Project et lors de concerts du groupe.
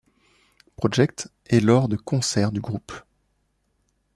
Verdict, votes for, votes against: accepted, 2, 0